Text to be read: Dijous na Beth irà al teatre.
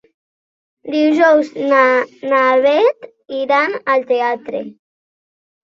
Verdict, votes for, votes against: rejected, 0, 2